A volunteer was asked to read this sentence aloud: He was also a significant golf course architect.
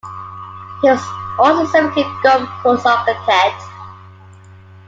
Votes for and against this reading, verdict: 0, 2, rejected